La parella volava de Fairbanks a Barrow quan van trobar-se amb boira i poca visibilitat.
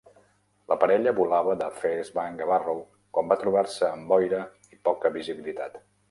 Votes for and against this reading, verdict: 0, 2, rejected